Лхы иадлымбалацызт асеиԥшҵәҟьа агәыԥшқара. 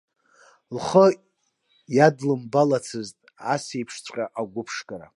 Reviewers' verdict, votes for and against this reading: accepted, 2, 0